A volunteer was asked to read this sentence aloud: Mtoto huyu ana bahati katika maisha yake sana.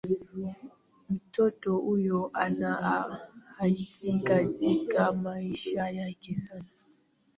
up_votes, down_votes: 0, 2